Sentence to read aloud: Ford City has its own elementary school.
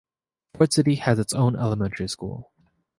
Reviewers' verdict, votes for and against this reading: accepted, 2, 0